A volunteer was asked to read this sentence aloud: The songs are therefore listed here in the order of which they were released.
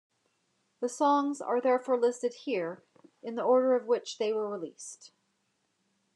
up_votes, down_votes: 1, 2